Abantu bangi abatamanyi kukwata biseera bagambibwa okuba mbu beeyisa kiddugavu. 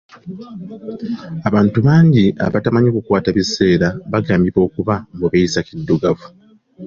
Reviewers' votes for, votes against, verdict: 2, 0, accepted